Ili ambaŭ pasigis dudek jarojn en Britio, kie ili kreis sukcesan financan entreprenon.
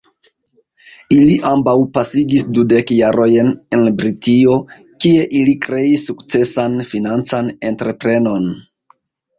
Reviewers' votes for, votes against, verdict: 2, 1, accepted